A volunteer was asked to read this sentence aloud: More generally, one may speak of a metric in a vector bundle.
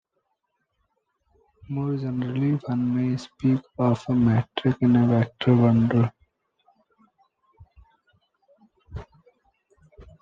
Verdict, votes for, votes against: rejected, 0, 2